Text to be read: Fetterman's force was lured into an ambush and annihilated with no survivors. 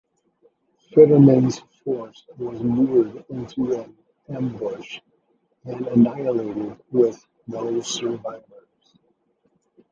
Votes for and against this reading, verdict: 2, 1, accepted